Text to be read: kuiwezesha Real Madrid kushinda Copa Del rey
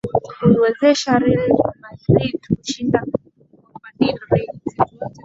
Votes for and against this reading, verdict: 2, 0, accepted